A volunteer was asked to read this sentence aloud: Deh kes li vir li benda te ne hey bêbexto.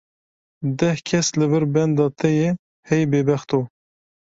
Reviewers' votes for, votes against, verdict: 0, 2, rejected